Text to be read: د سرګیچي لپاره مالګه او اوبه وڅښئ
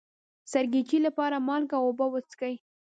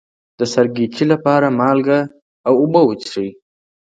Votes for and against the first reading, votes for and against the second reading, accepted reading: 1, 2, 2, 0, second